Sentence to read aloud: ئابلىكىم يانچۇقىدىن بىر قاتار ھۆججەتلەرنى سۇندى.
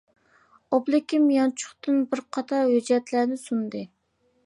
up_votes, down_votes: 0, 2